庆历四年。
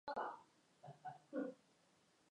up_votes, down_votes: 1, 7